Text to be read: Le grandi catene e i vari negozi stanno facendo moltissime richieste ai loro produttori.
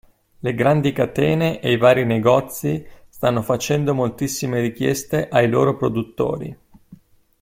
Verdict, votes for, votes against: accepted, 2, 0